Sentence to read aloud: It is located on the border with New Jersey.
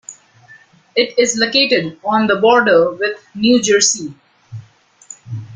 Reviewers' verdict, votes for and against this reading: accepted, 2, 0